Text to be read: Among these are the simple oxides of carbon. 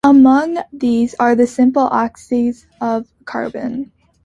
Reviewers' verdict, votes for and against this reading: rejected, 0, 2